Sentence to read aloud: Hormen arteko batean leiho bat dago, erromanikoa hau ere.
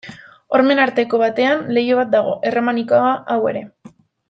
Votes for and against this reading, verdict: 1, 2, rejected